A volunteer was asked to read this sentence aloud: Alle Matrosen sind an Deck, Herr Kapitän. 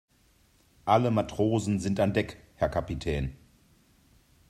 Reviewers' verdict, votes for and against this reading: accepted, 2, 0